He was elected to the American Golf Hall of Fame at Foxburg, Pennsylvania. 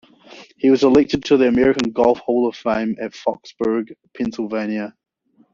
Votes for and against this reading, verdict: 1, 2, rejected